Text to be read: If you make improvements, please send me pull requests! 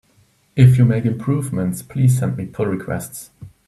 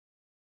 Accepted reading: first